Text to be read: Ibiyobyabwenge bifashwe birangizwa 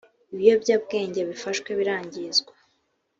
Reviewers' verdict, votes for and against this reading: accepted, 2, 0